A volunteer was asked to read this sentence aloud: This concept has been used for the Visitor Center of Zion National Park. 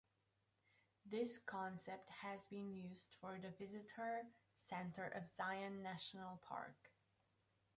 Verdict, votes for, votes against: rejected, 0, 2